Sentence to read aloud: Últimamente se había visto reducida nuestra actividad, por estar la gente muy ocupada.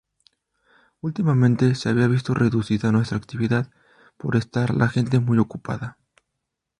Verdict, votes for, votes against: accepted, 2, 0